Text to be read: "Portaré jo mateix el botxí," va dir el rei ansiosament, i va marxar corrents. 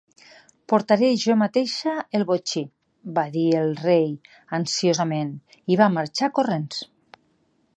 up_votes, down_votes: 0, 2